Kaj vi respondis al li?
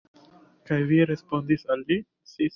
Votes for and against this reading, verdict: 2, 1, accepted